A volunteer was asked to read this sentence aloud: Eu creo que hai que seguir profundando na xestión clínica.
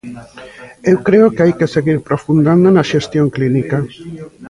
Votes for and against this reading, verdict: 2, 0, accepted